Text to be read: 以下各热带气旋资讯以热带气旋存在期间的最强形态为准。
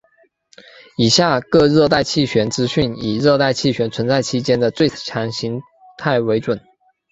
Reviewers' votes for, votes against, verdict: 3, 1, accepted